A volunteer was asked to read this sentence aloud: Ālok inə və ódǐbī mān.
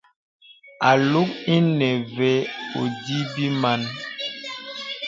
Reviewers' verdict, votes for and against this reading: rejected, 0, 2